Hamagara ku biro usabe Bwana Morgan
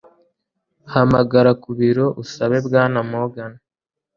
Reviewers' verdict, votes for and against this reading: accepted, 2, 0